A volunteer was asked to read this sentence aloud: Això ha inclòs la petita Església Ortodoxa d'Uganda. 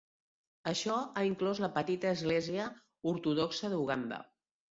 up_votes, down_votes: 2, 1